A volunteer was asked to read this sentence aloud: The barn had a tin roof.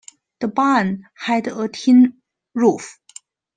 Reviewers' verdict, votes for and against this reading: accepted, 2, 0